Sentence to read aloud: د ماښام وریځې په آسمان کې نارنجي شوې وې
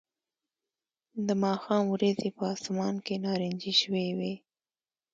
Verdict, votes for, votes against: accepted, 2, 1